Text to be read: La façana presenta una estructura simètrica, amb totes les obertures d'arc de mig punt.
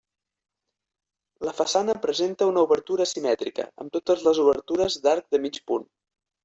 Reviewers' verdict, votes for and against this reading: rejected, 1, 2